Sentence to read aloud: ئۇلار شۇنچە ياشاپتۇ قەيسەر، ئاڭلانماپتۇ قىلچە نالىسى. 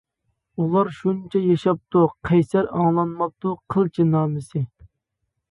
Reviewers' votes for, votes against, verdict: 0, 2, rejected